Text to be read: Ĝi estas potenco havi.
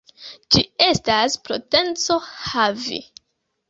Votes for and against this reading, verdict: 0, 2, rejected